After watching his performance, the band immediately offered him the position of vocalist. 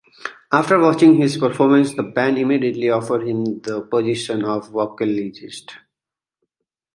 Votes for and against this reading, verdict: 2, 1, accepted